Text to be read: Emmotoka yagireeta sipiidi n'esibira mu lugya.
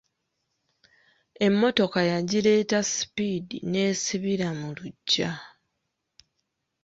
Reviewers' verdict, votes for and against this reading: rejected, 1, 2